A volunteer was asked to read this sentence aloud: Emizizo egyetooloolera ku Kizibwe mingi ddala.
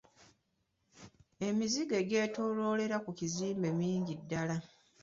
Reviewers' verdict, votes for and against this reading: rejected, 1, 2